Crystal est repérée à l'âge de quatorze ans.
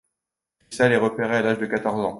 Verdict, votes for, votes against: rejected, 0, 2